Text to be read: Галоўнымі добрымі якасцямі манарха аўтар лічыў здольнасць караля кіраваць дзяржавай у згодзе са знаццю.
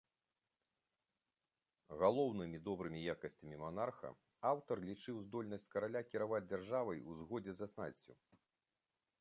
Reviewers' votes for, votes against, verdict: 2, 0, accepted